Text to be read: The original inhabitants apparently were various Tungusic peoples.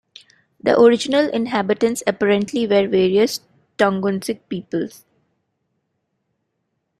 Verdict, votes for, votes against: accepted, 2, 0